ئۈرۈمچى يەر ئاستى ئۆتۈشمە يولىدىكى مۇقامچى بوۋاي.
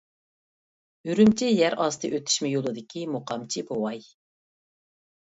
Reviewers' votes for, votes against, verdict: 2, 0, accepted